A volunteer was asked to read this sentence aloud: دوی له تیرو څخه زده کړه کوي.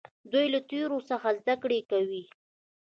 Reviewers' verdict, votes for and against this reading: rejected, 0, 2